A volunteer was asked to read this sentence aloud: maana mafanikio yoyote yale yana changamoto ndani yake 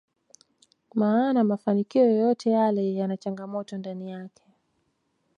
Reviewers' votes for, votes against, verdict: 2, 0, accepted